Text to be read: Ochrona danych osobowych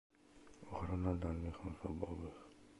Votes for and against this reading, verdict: 0, 2, rejected